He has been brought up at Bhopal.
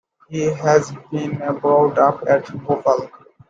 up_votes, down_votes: 0, 2